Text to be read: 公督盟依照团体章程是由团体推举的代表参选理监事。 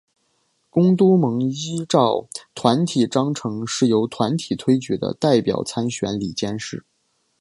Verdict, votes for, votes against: accepted, 2, 0